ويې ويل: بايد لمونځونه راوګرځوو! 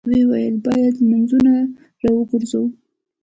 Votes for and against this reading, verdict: 1, 2, rejected